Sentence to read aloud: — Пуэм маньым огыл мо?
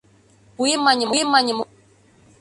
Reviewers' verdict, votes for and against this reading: rejected, 0, 2